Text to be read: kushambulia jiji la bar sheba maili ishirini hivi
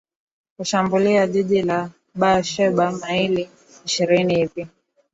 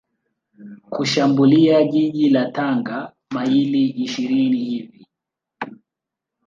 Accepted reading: first